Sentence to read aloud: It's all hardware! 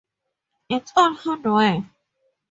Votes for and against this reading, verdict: 8, 4, accepted